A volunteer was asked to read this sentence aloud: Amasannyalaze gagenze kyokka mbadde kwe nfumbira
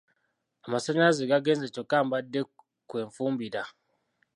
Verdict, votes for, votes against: rejected, 1, 2